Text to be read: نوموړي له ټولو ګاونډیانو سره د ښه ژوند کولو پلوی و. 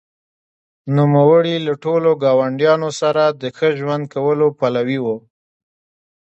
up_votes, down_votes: 1, 2